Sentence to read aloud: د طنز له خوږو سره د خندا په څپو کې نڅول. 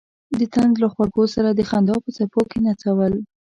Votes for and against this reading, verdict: 3, 0, accepted